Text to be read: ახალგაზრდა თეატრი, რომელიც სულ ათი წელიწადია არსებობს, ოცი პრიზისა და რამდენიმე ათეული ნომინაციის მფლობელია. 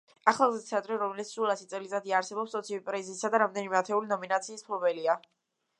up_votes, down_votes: 0, 2